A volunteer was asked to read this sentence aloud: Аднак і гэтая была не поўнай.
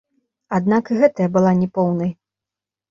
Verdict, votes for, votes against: accepted, 2, 0